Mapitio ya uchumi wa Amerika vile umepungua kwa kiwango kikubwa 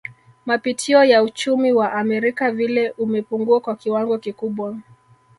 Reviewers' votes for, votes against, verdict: 2, 1, accepted